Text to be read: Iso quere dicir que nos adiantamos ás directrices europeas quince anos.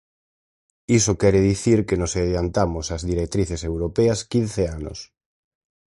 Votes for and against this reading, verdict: 4, 0, accepted